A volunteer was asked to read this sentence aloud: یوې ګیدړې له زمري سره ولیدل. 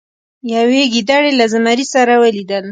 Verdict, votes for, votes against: accepted, 2, 0